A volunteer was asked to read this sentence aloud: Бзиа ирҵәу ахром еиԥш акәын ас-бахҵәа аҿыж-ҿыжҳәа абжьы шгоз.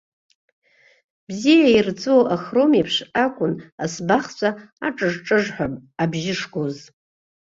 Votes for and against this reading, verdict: 0, 2, rejected